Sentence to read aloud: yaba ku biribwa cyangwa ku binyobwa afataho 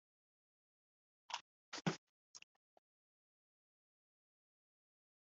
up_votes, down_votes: 0, 2